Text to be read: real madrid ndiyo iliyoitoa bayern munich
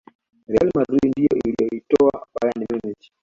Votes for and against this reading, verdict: 2, 0, accepted